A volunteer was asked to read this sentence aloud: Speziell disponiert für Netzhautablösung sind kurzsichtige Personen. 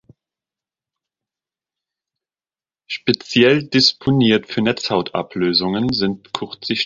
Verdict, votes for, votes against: rejected, 0, 2